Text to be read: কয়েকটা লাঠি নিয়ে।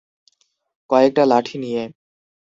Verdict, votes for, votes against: rejected, 0, 2